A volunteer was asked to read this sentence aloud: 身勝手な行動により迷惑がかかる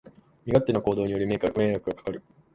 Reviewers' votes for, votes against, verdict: 2, 4, rejected